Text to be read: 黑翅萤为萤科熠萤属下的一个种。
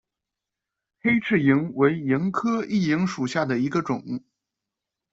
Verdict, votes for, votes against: accepted, 2, 0